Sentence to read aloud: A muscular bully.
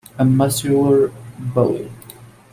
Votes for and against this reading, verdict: 1, 2, rejected